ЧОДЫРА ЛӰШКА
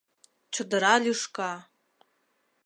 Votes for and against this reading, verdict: 2, 0, accepted